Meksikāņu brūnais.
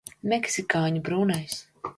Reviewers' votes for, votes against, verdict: 2, 0, accepted